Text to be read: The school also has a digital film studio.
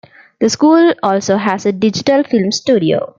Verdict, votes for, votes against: accepted, 2, 0